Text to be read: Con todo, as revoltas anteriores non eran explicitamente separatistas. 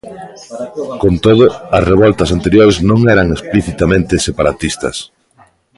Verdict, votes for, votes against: rejected, 0, 2